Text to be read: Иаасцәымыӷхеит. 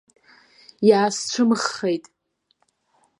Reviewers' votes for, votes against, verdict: 1, 2, rejected